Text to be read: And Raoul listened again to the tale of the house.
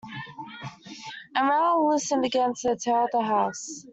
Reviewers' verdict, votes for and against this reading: accepted, 2, 1